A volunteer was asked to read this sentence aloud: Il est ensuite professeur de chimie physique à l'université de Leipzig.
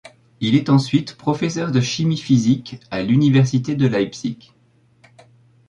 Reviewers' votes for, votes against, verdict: 1, 2, rejected